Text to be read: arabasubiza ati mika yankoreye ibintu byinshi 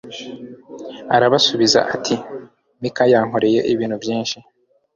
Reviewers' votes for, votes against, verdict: 2, 0, accepted